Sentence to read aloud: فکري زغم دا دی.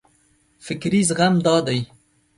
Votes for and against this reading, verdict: 2, 0, accepted